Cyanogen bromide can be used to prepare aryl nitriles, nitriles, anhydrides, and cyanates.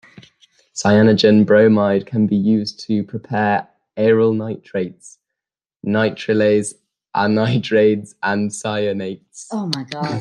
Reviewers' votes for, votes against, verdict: 0, 2, rejected